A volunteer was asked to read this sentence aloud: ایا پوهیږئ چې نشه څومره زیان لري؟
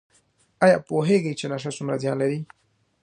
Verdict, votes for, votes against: rejected, 1, 2